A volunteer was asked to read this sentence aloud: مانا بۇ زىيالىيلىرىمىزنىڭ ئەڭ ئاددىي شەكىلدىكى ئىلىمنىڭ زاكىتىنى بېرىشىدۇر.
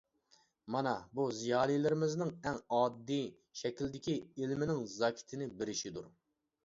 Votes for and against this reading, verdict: 0, 2, rejected